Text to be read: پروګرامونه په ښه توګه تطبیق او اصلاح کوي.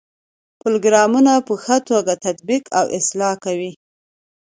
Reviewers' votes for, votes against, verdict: 2, 0, accepted